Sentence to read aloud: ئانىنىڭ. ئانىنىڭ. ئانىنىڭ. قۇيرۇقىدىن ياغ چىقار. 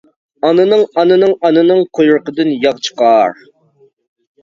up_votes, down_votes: 2, 0